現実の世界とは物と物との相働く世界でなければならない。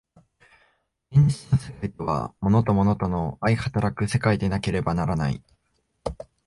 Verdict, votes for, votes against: accepted, 2, 0